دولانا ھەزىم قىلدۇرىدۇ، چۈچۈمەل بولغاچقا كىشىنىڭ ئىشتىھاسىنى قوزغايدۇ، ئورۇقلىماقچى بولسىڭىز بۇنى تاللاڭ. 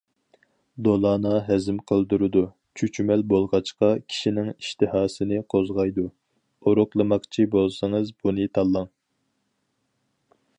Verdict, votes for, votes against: accepted, 4, 0